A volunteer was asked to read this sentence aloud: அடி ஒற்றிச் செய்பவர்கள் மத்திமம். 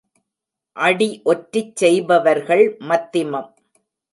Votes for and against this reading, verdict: 2, 0, accepted